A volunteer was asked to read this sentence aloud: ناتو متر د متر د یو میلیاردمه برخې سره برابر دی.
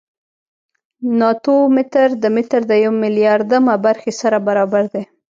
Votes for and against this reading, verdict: 0, 2, rejected